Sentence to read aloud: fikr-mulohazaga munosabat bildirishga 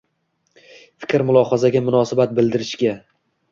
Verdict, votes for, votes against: rejected, 1, 2